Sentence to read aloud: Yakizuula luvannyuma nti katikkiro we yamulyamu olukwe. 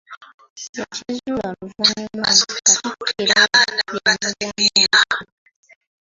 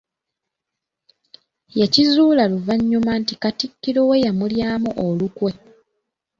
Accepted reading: second